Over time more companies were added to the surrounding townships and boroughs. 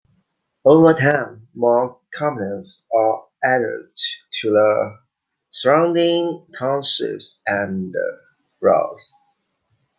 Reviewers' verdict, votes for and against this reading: rejected, 0, 2